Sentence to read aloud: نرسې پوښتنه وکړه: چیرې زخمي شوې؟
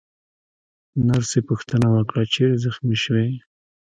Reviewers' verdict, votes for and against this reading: rejected, 0, 2